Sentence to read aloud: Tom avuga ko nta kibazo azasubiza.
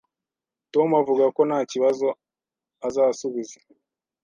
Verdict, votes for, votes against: accepted, 2, 0